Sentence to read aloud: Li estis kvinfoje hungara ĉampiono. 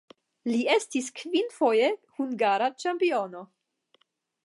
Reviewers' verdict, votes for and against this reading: accepted, 10, 0